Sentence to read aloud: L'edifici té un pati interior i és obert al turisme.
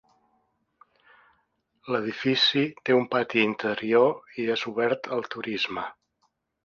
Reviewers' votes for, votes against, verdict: 2, 0, accepted